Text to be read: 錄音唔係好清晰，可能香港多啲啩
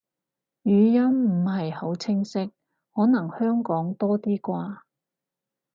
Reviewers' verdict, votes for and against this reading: rejected, 2, 2